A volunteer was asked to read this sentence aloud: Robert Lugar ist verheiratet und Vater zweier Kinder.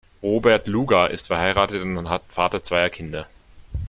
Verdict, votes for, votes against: rejected, 1, 2